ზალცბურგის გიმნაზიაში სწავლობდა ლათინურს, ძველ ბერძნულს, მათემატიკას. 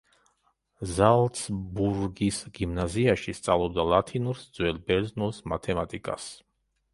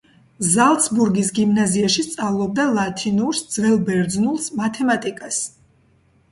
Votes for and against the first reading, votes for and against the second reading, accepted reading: 0, 2, 2, 0, second